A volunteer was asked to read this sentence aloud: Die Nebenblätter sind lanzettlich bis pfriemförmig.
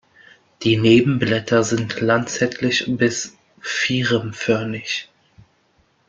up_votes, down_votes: 0, 2